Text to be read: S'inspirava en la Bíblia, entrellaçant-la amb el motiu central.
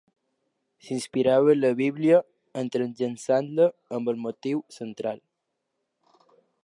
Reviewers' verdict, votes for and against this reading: rejected, 1, 2